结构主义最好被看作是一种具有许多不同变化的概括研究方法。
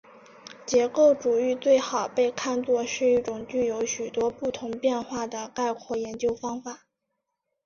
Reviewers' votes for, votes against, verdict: 2, 1, accepted